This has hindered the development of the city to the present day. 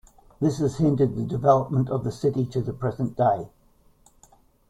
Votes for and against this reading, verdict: 2, 0, accepted